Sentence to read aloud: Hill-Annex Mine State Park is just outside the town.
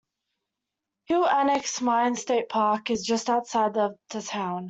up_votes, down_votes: 0, 2